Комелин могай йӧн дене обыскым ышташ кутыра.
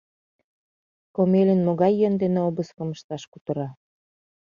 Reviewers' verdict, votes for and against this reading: accepted, 2, 0